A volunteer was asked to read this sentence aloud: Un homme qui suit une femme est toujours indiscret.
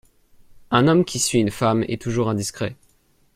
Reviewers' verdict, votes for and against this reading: accepted, 2, 0